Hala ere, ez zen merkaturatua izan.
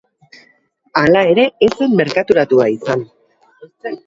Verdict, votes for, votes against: accepted, 2, 0